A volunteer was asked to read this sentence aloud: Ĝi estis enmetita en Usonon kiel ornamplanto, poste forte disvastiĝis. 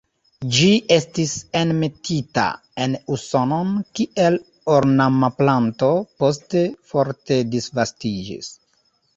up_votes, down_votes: 1, 2